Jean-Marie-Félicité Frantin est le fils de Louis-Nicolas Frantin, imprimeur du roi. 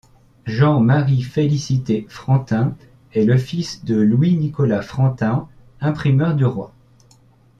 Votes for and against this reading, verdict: 2, 0, accepted